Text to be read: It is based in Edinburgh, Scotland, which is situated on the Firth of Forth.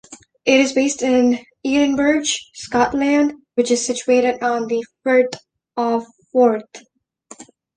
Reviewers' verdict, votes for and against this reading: accepted, 2, 1